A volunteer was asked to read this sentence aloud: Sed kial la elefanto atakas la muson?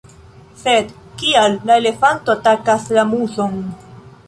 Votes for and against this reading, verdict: 1, 2, rejected